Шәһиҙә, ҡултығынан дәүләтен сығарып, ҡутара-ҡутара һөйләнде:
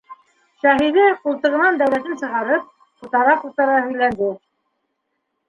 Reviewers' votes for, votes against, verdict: 0, 2, rejected